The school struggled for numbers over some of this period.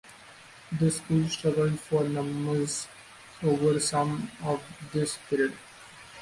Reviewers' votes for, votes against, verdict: 2, 0, accepted